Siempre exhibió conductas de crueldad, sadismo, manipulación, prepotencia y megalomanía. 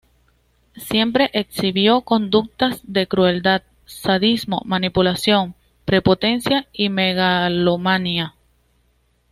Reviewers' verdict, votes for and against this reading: accepted, 2, 0